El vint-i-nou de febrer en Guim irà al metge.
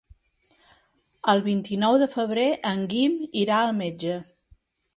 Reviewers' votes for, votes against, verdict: 4, 0, accepted